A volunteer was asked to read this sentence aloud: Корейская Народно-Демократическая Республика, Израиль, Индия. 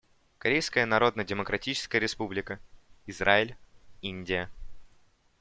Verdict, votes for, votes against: accepted, 2, 0